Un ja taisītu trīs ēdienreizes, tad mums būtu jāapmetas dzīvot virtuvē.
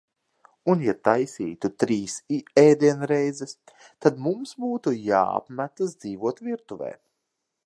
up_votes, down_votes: 1, 2